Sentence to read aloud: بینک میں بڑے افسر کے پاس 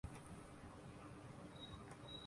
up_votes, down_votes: 3, 6